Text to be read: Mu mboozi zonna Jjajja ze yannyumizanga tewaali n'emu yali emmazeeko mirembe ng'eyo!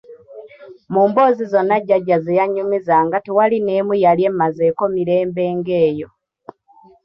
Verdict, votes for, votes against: accepted, 3, 0